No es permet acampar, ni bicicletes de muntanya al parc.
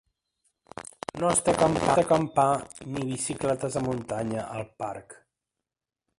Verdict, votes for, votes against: rejected, 0, 2